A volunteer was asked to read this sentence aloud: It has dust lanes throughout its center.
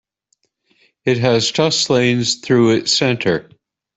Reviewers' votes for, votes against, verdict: 0, 2, rejected